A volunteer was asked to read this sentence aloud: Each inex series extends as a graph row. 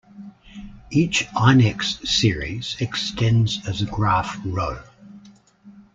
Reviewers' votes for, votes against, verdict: 2, 1, accepted